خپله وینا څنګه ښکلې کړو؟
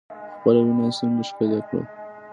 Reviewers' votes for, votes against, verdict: 2, 0, accepted